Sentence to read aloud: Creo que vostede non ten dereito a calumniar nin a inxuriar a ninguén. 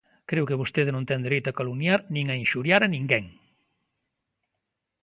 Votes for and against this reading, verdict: 2, 0, accepted